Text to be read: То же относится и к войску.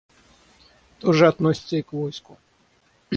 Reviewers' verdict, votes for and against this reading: rejected, 3, 3